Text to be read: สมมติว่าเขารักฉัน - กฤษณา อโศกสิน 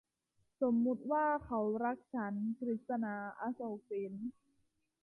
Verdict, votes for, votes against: accepted, 2, 0